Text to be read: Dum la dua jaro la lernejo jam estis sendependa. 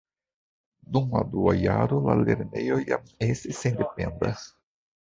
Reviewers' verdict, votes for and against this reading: rejected, 0, 2